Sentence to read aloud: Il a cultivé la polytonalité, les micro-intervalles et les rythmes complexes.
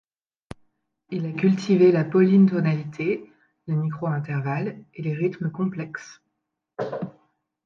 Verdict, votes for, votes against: rejected, 0, 2